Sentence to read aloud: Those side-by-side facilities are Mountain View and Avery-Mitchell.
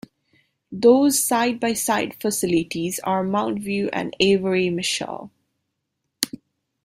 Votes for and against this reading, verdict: 0, 2, rejected